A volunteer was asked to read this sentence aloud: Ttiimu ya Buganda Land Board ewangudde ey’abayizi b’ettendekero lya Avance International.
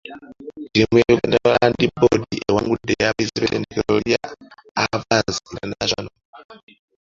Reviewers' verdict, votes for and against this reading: rejected, 0, 2